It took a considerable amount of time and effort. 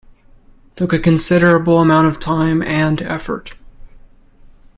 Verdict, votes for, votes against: accepted, 2, 0